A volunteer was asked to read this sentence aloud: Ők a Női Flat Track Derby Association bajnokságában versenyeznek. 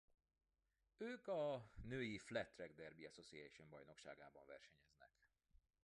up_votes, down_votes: 1, 2